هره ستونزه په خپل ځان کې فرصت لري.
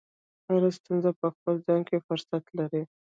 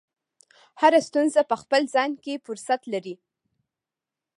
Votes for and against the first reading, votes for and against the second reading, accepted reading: 0, 2, 2, 1, second